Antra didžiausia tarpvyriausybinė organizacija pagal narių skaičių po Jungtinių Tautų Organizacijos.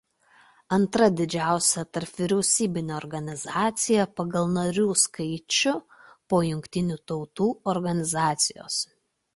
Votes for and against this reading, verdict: 2, 0, accepted